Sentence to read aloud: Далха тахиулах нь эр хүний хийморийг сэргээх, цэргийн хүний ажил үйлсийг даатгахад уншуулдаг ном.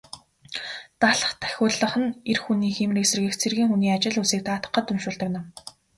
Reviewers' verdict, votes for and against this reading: accepted, 6, 0